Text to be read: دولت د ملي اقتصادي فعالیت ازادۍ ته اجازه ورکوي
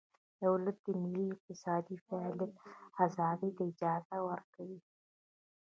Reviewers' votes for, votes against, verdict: 2, 0, accepted